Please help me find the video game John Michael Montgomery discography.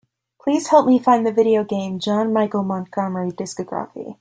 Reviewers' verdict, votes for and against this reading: accepted, 2, 0